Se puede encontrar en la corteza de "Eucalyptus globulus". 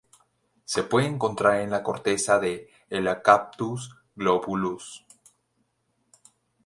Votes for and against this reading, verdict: 0, 4, rejected